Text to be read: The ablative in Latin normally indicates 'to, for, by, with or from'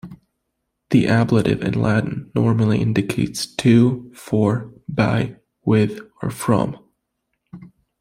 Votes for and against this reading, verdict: 2, 0, accepted